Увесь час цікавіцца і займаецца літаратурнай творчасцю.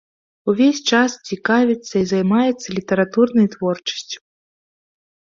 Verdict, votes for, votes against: accepted, 2, 0